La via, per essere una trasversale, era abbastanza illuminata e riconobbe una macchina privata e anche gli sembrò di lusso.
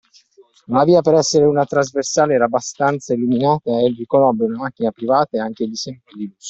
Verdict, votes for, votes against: rejected, 1, 2